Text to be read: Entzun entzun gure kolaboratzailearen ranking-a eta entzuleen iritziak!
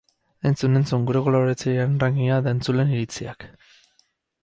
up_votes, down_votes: 0, 4